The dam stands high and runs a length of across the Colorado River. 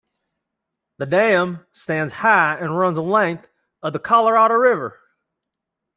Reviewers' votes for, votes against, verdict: 1, 2, rejected